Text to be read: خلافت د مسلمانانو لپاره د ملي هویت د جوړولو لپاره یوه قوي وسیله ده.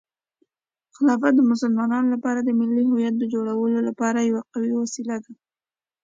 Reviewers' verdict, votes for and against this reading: accepted, 2, 1